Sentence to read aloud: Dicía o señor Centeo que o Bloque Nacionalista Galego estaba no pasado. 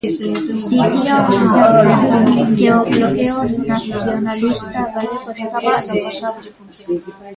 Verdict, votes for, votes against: rejected, 0, 2